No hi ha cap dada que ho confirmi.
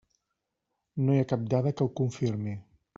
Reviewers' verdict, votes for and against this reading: accepted, 3, 0